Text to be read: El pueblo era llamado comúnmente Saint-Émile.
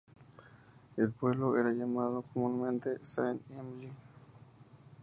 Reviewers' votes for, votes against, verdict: 2, 0, accepted